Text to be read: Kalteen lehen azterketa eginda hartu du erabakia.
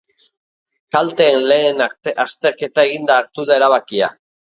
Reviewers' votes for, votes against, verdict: 1, 2, rejected